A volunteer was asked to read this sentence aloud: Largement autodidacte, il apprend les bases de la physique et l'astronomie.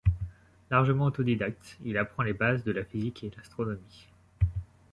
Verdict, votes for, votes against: accepted, 2, 0